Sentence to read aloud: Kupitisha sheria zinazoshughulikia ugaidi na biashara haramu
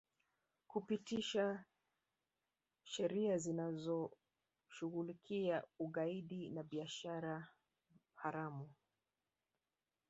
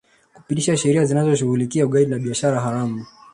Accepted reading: second